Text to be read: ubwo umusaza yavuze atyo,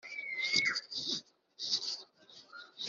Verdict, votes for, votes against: rejected, 0, 3